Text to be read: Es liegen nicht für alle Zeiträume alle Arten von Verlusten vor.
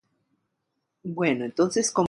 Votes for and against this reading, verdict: 0, 2, rejected